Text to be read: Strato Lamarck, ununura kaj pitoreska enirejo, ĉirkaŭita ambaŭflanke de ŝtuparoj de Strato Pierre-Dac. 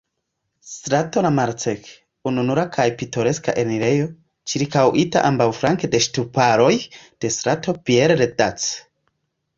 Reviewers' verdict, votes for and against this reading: rejected, 1, 2